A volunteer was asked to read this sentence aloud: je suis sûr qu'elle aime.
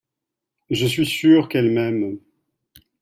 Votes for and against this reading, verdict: 0, 2, rejected